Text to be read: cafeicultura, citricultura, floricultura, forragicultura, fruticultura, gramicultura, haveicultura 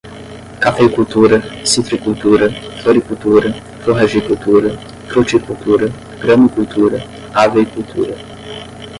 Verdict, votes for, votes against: rejected, 5, 10